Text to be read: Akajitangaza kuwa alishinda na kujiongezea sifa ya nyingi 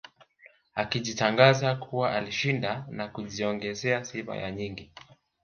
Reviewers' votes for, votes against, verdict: 2, 1, accepted